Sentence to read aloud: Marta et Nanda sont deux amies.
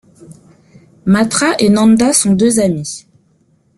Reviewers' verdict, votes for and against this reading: rejected, 1, 2